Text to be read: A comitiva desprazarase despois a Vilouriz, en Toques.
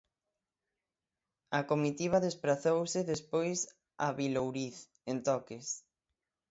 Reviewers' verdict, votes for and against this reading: rejected, 3, 6